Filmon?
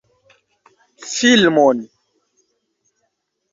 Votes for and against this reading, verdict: 2, 0, accepted